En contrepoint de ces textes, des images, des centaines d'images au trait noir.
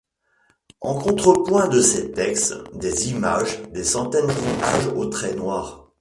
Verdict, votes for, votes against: accepted, 2, 1